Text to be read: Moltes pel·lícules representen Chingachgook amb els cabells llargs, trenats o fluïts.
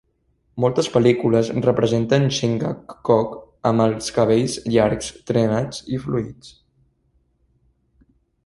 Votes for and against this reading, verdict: 0, 2, rejected